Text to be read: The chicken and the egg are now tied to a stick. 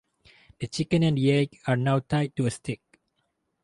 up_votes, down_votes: 2, 2